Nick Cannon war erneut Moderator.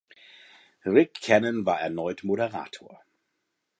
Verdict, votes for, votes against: rejected, 1, 3